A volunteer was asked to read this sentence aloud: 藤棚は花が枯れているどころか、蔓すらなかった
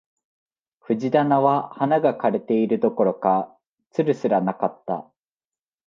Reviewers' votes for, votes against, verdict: 2, 0, accepted